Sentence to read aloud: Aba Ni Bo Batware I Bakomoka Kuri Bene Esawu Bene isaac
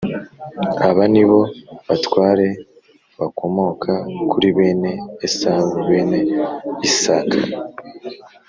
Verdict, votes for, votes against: accepted, 2, 0